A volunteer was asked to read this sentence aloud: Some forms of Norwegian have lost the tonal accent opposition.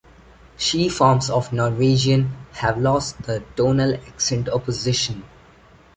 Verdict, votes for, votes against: rejected, 0, 2